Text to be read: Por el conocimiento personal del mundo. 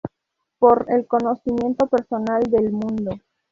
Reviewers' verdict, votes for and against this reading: accepted, 4, 0